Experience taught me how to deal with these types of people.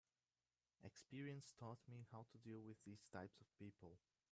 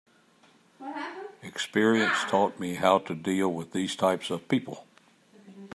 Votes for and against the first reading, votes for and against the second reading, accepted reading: 0, 3, 2, 0, second